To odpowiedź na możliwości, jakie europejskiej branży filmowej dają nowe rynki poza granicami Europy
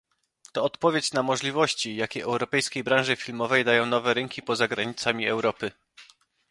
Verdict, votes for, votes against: accepted, 2, 0